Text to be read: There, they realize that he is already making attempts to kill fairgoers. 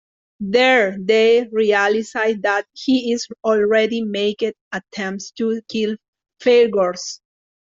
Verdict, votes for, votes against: rejected, 0, 2